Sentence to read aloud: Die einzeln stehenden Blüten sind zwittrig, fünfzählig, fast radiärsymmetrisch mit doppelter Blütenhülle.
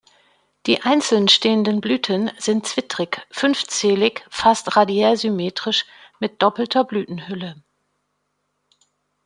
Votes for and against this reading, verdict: 2, 0, accepted